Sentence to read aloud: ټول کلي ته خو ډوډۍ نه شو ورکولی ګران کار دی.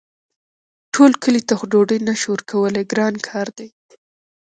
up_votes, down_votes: 2, 1